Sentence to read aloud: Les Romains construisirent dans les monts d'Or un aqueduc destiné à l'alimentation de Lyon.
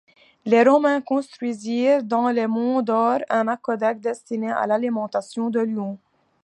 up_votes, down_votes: 2, 1